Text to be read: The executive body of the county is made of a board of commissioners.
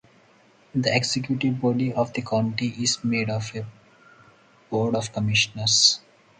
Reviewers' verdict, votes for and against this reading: accepted, 2, 0